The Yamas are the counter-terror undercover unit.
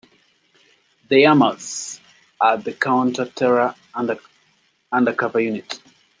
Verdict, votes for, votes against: rejected, 1, 2